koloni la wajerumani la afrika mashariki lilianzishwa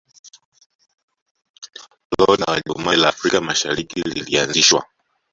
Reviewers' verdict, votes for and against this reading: rejected, 1, 3